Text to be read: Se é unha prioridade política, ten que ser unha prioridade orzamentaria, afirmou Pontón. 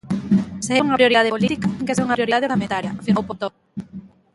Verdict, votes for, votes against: rejected, 0, 2